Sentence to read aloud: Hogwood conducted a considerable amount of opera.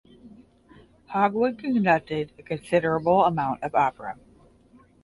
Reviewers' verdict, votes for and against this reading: accepted, 20, 0